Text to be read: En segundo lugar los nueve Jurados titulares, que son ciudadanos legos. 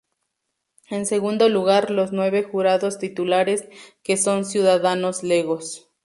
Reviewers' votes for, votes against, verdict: 4, 0, accepted